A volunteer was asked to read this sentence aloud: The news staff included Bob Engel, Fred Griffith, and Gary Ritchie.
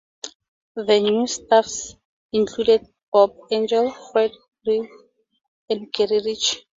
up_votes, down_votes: 0, 4